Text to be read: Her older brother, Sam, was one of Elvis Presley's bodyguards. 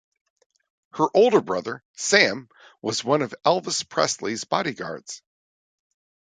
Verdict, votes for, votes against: accepted, 2, 0